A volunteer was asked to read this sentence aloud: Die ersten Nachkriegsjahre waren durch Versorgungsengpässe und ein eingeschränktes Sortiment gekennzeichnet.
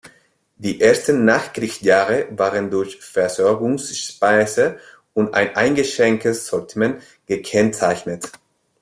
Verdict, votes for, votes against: rejected, 0, 2